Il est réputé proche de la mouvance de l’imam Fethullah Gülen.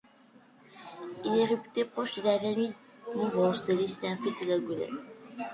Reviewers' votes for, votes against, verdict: 0, 2, rejected